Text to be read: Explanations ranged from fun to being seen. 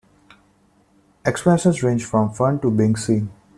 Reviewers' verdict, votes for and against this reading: accepted, 2, 1